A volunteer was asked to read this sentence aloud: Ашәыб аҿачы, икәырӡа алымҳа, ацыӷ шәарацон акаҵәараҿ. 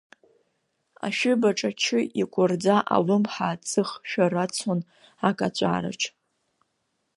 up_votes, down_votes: 2, 1